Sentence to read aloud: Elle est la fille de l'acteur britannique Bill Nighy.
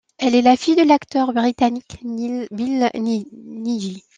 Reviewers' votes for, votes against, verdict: 0, 2, rejected